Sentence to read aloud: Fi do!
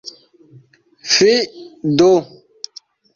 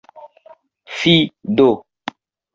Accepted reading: first